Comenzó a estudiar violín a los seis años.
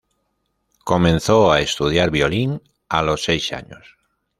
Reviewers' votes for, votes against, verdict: 2, 0, accepted